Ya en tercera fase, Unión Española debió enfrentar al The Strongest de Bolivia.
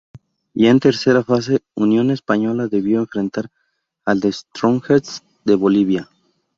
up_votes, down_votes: 2, 2